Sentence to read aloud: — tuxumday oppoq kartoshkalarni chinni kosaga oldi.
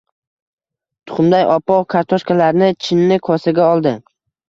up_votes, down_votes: 1, 2